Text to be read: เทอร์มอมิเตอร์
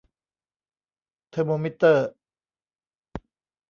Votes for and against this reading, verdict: 0, 2, rejected